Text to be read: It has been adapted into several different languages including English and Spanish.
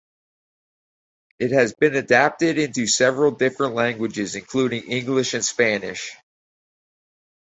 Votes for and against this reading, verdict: 4, 0, accepted